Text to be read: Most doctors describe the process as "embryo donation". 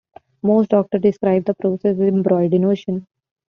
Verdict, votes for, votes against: rejected, 1, 2